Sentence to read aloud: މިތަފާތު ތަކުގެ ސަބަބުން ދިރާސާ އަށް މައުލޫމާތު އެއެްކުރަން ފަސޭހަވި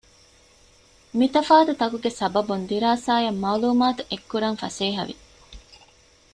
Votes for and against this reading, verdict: 2, 0, accepted